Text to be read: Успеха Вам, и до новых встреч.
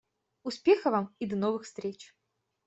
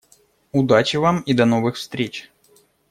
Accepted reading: first